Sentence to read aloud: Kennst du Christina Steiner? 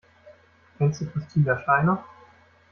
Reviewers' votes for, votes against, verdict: 1, 2, rejected